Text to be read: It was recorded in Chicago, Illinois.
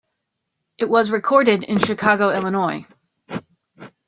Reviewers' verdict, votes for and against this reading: accepted, 2, 0